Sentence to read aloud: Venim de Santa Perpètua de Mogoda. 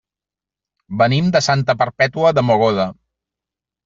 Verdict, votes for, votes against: accepted, 3, 0